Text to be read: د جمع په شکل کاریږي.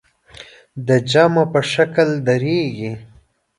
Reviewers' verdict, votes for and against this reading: rejected, 0, 2